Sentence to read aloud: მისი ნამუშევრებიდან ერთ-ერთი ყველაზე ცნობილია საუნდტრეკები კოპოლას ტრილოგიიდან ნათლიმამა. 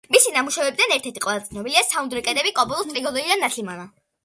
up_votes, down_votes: 0, 2